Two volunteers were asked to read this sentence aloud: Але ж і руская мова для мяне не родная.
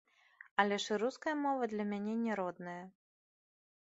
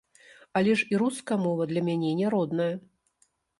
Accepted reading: first